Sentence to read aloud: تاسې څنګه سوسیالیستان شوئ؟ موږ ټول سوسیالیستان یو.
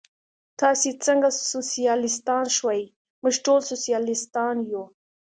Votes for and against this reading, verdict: 2, 0, accepted